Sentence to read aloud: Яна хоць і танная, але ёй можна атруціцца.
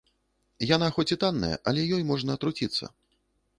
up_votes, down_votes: 1, 2